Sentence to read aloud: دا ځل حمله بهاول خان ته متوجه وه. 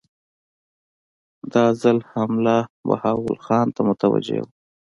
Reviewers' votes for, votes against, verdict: 2, 0, accepted